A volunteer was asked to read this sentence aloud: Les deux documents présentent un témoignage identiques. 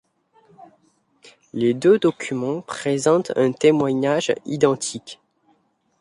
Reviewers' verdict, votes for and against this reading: accepted, 2, 0